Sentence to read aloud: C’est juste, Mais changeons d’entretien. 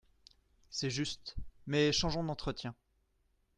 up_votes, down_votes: 2, 0